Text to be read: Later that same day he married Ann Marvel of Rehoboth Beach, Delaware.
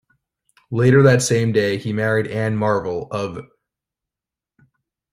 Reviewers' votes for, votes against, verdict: 1, 2, rejected